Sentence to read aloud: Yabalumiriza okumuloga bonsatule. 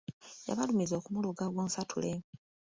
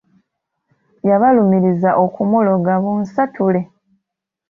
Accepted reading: second